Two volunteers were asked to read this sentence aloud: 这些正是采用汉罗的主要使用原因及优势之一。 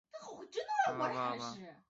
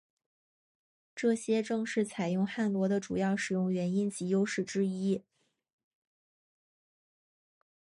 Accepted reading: second